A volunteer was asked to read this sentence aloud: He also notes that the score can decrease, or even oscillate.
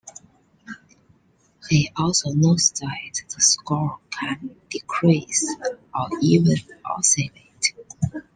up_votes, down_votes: 1, 2